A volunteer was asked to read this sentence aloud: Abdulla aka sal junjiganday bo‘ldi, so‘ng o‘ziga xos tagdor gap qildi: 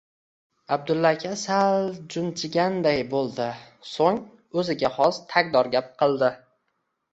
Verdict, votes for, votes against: rejected, 0, 2